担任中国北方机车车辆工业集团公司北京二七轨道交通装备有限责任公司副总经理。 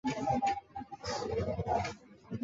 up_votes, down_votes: 0, 2